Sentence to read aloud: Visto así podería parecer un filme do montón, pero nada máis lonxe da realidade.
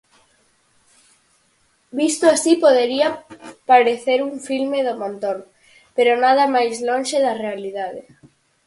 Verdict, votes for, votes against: accepted, 4, 2